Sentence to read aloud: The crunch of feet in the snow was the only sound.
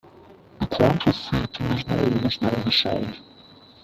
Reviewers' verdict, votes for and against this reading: rejected, 0, 2